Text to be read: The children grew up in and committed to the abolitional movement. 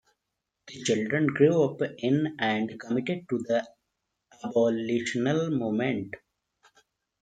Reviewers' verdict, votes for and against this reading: accepted, 2, 0